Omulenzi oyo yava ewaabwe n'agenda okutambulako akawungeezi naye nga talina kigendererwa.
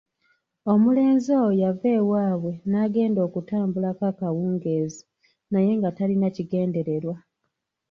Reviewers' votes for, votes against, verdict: 1, 2, rejected